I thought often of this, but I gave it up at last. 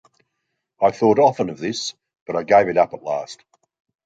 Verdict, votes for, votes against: rejected, 1, 2